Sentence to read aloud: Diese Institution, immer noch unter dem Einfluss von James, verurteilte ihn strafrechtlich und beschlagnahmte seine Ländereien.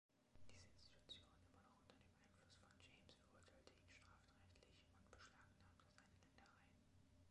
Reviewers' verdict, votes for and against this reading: rejected, 1, 2